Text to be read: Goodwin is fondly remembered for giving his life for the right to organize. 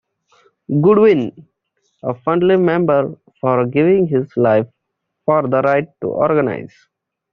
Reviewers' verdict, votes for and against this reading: rejected, 1, 2